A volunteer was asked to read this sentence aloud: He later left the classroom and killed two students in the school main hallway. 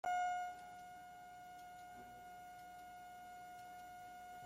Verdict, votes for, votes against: rejected, 0, 2